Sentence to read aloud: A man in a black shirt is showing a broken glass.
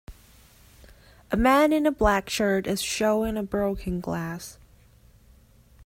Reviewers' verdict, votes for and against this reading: accepted, 2, 0